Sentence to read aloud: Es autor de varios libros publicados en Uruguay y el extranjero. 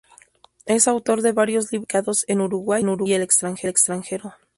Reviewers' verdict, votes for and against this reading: rejected, 0, 2